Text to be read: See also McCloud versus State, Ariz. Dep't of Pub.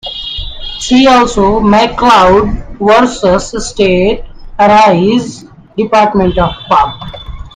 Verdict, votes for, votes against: rejected, 0, 2